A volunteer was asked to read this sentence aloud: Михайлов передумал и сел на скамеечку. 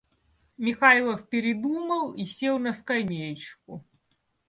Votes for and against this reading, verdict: 2, 0, accepted